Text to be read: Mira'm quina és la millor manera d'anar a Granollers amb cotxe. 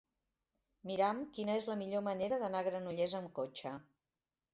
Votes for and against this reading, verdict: 1, 2, rejected